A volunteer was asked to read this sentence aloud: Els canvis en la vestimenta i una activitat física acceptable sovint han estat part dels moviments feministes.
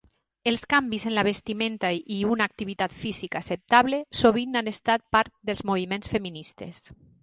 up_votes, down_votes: 2, 0